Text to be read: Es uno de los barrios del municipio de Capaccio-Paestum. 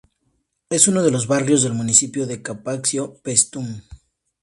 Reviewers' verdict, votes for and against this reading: rejected, 0, 2